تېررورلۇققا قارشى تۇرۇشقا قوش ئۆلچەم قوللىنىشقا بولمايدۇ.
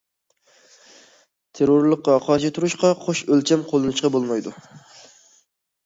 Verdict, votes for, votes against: accepted, 2, 0